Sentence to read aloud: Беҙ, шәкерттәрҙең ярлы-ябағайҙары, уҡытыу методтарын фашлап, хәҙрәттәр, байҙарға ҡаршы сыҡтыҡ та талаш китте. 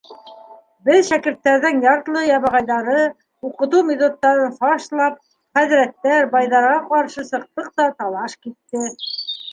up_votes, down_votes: 2, 0